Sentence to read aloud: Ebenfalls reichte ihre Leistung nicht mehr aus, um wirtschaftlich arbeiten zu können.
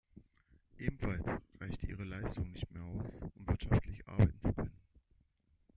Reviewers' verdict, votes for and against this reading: rejected, 1, 2